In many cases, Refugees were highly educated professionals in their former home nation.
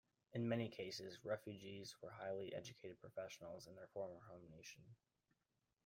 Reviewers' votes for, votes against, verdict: 0, 2, rejected